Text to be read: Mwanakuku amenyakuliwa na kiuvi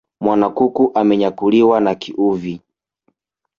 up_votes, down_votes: 1, 2